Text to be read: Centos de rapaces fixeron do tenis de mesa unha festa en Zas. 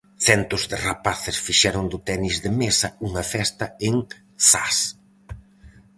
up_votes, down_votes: 4, 0